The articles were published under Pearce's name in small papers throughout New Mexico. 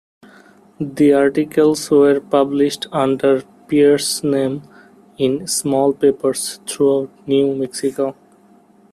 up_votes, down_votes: 1, 2